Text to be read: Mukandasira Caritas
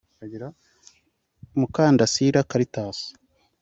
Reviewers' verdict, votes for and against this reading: accepted, 2, 1